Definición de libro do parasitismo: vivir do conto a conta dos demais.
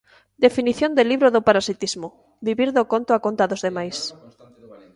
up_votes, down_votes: 0, 2